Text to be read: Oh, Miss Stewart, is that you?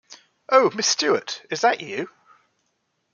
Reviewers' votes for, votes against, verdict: 2, 0, accepted